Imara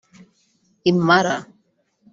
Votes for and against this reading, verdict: 3, 0, accepted